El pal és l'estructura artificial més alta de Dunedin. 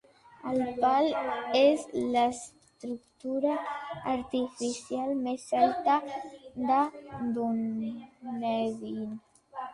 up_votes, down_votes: 3, 1